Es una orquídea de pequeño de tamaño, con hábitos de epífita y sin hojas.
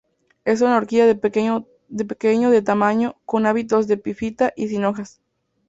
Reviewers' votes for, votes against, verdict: 0, 4, rejected